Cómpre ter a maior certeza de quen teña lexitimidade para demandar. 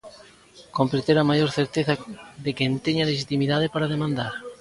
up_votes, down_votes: 2, 0